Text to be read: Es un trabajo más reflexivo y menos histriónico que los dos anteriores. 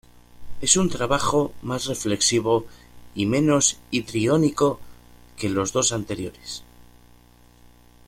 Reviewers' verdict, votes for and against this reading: rejected, 0, 2